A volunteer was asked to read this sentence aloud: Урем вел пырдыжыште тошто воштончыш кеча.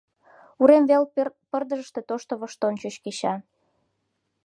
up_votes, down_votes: 0, 2